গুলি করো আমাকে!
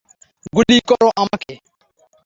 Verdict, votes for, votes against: accepted, 3, 0